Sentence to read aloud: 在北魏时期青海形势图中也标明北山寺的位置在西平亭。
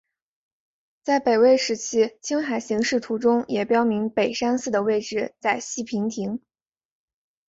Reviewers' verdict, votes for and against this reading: accepted, 2, 1